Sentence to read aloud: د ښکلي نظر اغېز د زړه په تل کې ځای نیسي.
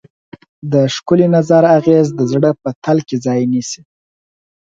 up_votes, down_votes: 4, 2